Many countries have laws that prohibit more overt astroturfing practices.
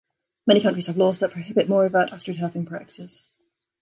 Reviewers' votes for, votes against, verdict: 2, 1, accepted